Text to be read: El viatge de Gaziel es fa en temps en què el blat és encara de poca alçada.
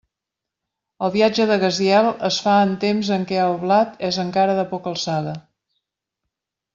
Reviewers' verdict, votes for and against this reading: accepted, 2, 0